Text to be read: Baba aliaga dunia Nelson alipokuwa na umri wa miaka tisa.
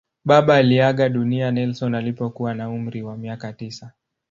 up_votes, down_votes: 2, 0